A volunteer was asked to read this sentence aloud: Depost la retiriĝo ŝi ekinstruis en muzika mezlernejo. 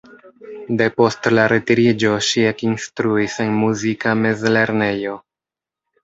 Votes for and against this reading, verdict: 2, 0, accepted